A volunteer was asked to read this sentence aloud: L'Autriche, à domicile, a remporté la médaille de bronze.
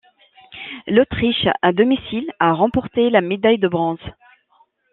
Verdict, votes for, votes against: accepted, 2, 0